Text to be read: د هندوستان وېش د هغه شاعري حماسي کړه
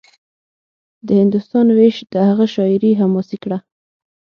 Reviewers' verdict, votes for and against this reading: accepted, 6, 0